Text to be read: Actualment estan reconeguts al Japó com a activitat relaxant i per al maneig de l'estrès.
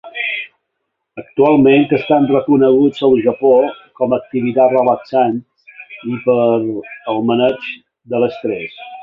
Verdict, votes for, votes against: rejected, 1, 3